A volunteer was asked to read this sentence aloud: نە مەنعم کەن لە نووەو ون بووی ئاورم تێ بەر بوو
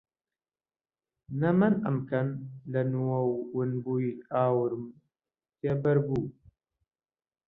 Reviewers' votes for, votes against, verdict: 0, 2, rejected